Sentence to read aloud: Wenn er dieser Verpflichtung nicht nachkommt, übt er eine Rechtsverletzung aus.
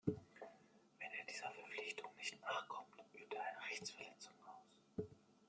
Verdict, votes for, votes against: accepted, 2, 1